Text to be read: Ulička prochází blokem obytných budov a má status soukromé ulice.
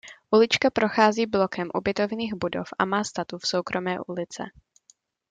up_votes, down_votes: 0, 2